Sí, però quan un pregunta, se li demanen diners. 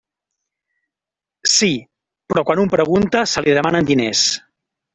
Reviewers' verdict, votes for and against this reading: rejected, 1, 2